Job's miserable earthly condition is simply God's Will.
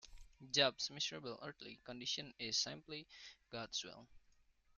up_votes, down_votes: 0, 2